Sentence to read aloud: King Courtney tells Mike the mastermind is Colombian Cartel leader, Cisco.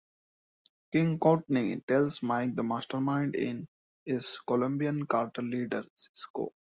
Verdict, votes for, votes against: rejected, 1, 2